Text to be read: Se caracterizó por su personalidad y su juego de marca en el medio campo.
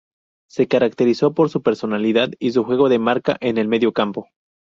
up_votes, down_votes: 2, 0